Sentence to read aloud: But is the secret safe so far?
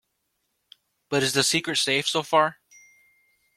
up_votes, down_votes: 2, 0